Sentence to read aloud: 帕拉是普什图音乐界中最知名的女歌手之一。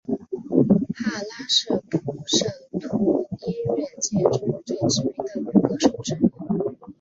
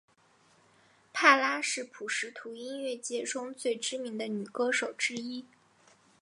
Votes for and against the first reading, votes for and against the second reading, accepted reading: 0, 2, 5, 1, second